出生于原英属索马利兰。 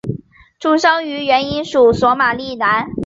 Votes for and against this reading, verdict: 3, 0, accepted